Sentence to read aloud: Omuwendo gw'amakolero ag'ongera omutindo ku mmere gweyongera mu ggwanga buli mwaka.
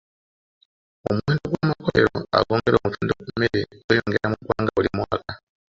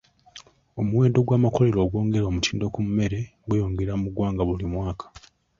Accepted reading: second